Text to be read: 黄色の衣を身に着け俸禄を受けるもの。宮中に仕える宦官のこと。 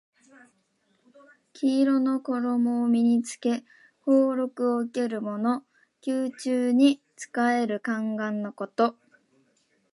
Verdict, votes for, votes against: accepted, 2, 0